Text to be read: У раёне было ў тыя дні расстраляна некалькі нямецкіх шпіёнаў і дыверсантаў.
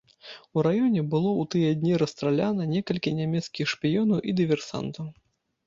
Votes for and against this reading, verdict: 2, 0, accepted